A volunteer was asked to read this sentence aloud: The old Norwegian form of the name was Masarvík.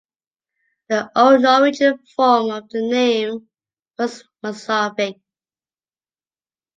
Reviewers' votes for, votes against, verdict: 2, 1, accepted